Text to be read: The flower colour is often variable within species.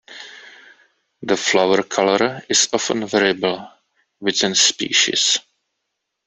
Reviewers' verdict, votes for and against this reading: accepted, 2, 0